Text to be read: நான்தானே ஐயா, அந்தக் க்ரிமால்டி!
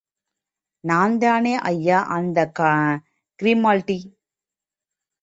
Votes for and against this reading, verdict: 1, 2, rejected